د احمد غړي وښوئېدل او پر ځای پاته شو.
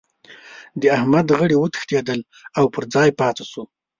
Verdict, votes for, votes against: rejected, 1, 2